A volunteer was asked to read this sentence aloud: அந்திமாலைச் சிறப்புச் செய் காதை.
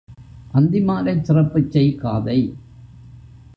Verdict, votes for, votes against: rejected, 1, 2